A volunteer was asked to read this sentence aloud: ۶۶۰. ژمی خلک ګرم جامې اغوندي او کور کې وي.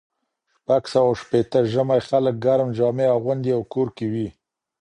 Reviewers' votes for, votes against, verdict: 0, 2, rejected